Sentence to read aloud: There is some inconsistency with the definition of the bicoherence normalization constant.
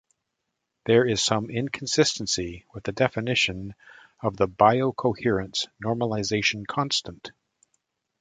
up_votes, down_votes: 0, 2